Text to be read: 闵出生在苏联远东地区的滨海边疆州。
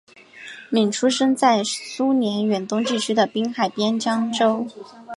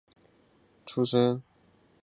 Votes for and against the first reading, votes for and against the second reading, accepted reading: 5, 0, 0, 3, first